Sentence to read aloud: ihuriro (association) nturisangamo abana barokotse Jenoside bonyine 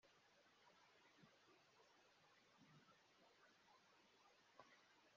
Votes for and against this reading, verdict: 1, 2, rejected